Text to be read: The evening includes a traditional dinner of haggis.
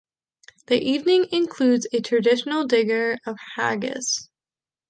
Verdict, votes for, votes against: rejected, 0, 2